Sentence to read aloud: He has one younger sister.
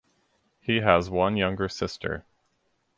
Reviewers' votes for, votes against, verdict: 4, 0, accepted